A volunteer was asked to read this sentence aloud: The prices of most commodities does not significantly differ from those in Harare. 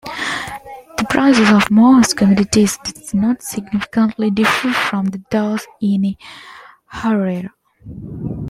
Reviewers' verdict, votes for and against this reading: rejected, 0, 2